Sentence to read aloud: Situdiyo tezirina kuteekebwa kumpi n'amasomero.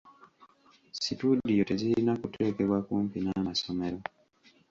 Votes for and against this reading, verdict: 0, 2, rejected